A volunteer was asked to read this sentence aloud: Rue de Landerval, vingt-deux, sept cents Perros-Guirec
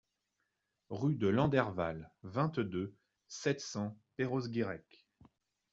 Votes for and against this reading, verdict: 2, 0, accepted